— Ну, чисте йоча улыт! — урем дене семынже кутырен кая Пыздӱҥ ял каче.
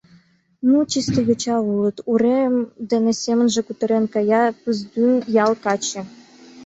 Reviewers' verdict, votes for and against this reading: accepted, 2, 0